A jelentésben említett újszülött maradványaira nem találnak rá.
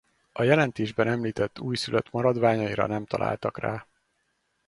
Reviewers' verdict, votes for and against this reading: rejected, 2, 2